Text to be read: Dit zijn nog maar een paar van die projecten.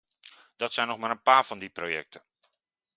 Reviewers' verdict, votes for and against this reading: rejected, 1, 2